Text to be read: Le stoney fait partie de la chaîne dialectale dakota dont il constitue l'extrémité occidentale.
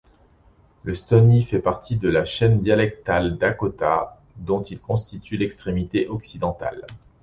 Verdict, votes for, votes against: accepted, 2, 0